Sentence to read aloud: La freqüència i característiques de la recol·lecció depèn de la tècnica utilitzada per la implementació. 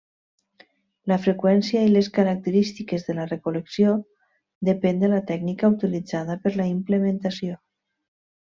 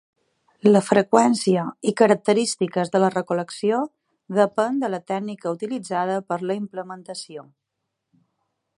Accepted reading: second